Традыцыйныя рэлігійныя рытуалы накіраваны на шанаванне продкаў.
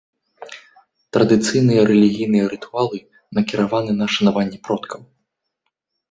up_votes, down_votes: 2, 0